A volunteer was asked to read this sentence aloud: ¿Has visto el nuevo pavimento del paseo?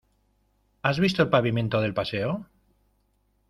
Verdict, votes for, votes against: rejected, 0, 2